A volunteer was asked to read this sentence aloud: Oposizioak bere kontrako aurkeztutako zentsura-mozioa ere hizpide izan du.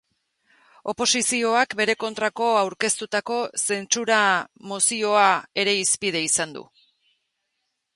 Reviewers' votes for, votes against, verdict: 2, 0, accepted